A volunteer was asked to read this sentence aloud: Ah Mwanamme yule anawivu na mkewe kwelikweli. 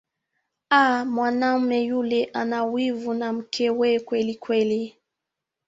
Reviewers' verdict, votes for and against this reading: rejected, 1, 2